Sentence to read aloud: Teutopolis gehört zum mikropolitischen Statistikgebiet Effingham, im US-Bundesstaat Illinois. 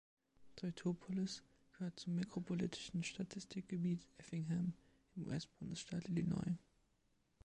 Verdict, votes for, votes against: rejected, 1, 3